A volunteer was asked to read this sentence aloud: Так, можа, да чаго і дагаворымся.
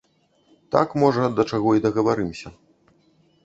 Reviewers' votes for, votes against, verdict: 0, 2, rejected